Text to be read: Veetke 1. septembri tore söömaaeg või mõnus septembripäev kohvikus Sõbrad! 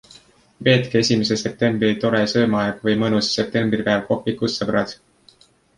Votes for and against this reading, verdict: 0, 2, rejected